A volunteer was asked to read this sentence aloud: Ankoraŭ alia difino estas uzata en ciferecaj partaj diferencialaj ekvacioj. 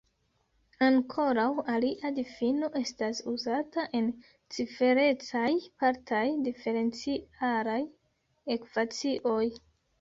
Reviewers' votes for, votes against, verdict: 1, 2, rejected